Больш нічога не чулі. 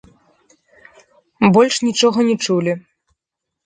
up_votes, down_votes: 1, 2